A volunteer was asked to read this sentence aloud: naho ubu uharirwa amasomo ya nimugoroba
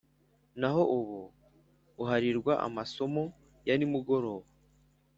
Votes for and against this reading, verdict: 2, 0, accepted